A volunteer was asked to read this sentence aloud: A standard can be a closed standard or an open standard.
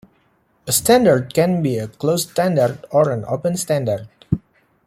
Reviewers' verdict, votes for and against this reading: rejected, 1, 2